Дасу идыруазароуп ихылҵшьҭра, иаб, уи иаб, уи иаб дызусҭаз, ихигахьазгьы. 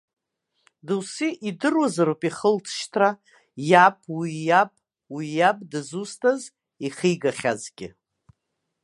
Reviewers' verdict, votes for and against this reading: accepted, 2, 0